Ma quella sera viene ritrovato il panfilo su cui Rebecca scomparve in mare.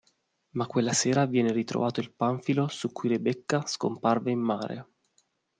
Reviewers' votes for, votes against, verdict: 2, 0, accepted